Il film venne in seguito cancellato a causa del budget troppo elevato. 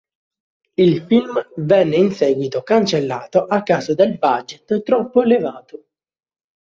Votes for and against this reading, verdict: 1, 2, rejected